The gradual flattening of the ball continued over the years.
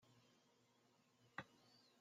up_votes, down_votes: 0, 2